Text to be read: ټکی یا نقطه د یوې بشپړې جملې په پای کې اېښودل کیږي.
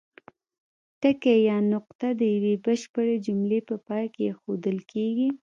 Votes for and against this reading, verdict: 0, 2, rejected